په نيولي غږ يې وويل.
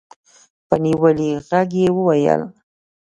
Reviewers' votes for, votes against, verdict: 1, 2, rejected